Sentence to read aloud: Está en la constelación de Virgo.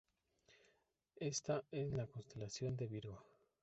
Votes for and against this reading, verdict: 1, 2, rejected